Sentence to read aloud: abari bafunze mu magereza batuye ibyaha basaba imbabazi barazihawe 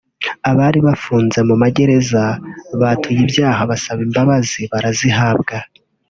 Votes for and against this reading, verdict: 2, 1, accepted